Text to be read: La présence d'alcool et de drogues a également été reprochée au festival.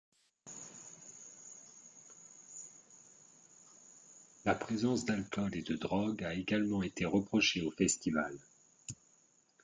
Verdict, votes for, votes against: rejected, 1, 2